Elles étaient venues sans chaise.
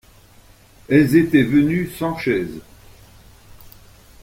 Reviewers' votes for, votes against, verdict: 2, 0, accepted